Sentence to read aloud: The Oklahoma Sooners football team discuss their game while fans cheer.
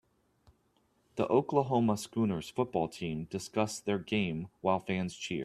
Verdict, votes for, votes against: rejected, 1, 2